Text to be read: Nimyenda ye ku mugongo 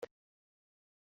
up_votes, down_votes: 1, 3